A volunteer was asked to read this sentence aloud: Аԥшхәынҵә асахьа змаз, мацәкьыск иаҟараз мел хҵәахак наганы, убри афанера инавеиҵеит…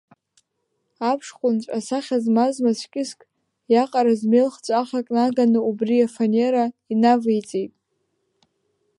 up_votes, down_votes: 1, 2